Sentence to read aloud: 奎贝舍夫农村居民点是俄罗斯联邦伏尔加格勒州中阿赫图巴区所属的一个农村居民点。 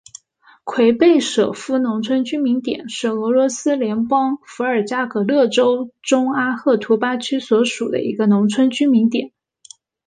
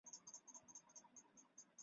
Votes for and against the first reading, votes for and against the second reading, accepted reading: 2, 0, 0, 2, first